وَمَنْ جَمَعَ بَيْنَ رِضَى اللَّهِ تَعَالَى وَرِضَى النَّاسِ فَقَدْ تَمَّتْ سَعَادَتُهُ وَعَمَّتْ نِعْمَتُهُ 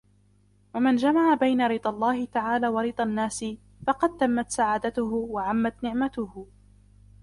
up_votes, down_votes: 0, 2